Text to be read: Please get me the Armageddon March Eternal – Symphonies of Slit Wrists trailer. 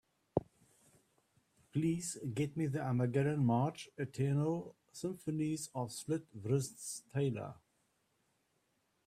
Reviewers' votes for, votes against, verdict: 2, 0, accepted